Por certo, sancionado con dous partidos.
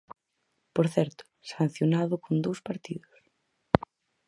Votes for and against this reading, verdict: 4, 0, accepted